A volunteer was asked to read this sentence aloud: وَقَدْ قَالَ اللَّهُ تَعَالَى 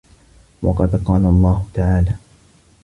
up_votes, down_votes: 2, 0